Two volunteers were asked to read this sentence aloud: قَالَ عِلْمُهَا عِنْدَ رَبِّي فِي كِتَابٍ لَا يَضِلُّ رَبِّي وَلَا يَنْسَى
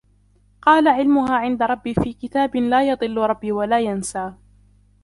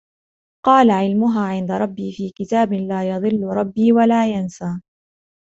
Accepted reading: second